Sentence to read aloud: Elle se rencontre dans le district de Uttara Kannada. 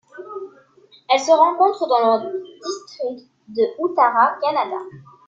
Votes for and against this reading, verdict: 2, 0, accepted